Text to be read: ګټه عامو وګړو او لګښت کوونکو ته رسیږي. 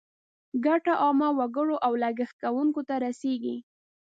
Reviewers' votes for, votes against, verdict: 1, 2, rejected